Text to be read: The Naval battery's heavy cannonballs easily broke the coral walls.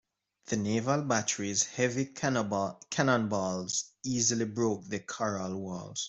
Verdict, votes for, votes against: rejected, 0, 2